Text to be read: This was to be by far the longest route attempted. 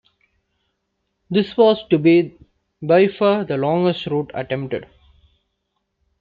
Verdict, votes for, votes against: accepted, 2, 0